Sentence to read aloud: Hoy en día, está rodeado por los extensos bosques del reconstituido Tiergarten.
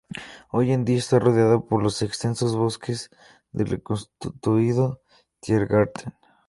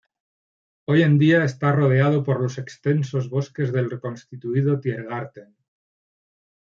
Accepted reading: first